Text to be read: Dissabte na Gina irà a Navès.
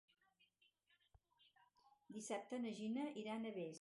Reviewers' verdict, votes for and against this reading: rejected, 0, 4